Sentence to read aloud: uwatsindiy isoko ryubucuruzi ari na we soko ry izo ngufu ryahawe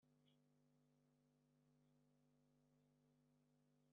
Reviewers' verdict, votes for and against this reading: rejected, 0, 2